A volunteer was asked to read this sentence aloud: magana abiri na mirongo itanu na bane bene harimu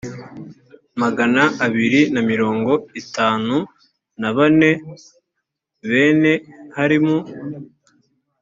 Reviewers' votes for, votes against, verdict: 3, 0, accepted